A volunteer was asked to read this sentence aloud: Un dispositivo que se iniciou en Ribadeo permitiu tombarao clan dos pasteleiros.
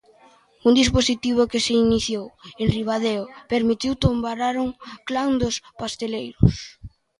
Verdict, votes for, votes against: rejected, 0, 2